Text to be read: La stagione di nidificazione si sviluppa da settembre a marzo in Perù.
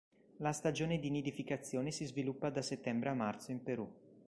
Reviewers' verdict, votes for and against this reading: accepted, 3, 0